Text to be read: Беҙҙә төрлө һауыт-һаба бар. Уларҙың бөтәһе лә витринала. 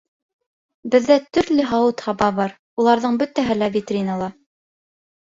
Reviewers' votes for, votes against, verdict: 2, 0, accepted